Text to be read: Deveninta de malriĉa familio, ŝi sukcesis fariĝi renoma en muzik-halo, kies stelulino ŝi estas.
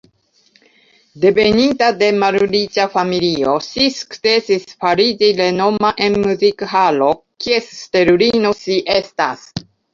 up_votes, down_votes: 2, 0